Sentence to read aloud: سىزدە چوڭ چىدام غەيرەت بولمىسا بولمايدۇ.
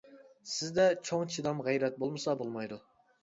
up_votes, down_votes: 3, 0